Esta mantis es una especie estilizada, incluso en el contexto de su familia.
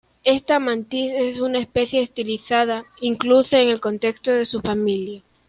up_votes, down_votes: 2, 1